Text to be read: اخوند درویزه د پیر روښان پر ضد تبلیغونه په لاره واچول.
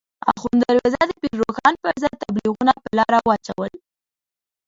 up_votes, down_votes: 0, 2